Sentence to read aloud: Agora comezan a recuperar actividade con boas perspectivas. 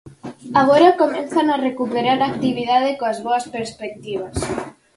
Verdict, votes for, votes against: rejected, 0, 4